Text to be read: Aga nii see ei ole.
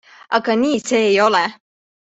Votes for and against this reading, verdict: 2, 0, accepted